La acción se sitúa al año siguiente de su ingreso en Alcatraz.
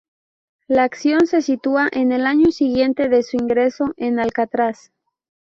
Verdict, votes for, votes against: rejected, 0, 2